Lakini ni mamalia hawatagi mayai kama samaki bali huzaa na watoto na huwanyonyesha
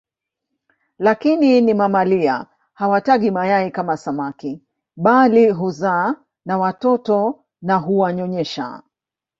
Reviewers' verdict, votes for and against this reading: accepted, 2, 0